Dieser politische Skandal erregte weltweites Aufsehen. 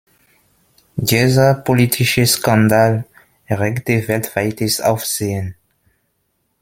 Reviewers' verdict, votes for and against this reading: accepted, 2, 0